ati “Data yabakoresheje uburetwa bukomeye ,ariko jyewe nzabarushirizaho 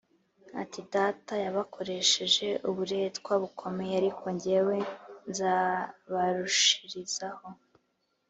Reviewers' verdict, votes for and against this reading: accepted, 2, 0